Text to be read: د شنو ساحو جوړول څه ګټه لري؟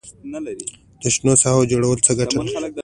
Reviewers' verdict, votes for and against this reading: accepted, 2, 0